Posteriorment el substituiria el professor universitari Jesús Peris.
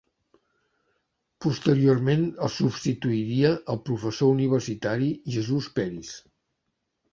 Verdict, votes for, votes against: accepted, 2, 0